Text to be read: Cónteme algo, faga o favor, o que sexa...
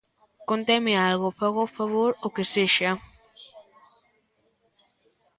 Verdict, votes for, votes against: rejected, 0, 2